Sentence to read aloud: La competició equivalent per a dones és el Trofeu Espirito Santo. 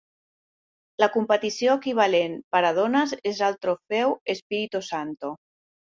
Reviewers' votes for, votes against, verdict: 2, 1, accepted